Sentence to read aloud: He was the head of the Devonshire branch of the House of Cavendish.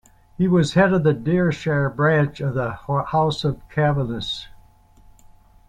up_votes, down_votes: 1, 2